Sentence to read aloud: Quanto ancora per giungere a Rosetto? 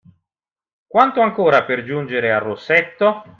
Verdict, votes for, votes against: accepted, 2, 0